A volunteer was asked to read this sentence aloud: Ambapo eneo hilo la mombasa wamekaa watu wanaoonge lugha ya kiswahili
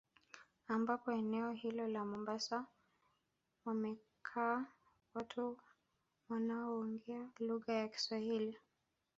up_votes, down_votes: 2, 0